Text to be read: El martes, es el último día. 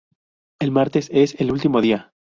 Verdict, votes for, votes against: accepted, 2, 0